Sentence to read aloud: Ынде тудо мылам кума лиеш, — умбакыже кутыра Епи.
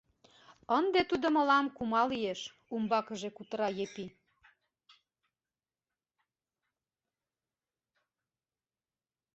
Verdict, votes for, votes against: rejected, 1, 2